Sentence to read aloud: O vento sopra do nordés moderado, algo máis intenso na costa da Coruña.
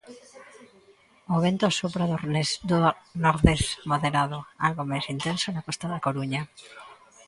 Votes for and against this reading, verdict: 0, 2, rejected